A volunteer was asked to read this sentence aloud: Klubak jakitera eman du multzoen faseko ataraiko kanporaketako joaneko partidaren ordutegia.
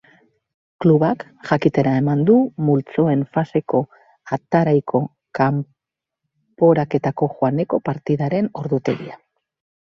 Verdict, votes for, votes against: rejected, 1, 2